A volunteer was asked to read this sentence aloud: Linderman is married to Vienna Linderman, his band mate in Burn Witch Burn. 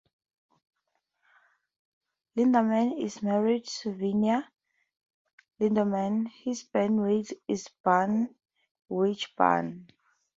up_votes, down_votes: 2, 2